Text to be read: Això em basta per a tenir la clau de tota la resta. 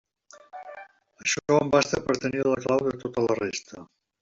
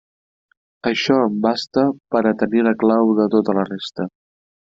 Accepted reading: second